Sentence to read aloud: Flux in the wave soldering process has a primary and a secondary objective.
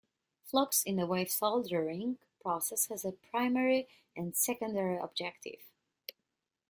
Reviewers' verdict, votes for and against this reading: rejected, 1, 2